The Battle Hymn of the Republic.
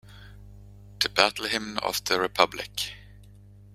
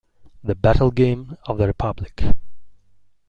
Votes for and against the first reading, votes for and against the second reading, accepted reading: 2, 0, 0, 2, first